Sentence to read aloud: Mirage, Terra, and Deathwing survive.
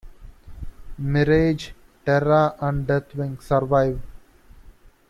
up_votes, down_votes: 0, 2